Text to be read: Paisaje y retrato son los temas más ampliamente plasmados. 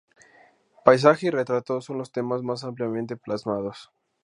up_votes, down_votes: 0, 2